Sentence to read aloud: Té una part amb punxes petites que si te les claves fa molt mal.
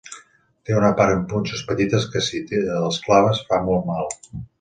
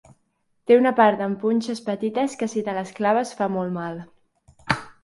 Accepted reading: second